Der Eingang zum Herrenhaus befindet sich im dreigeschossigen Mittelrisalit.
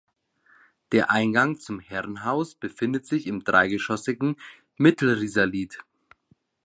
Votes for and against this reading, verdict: 2, 0, accepted